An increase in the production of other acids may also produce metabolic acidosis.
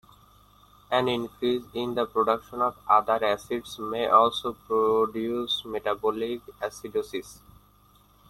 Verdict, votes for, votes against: accepted, 2, 1